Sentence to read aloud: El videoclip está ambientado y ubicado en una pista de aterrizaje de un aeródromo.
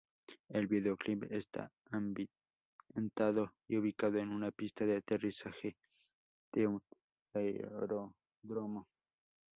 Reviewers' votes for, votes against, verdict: 2, 2, rejected